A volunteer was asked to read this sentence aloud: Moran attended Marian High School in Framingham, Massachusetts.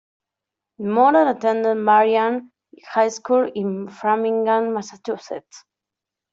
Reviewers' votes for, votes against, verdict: 2, 1, accepted